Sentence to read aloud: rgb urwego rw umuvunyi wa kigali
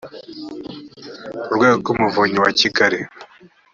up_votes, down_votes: 0, 2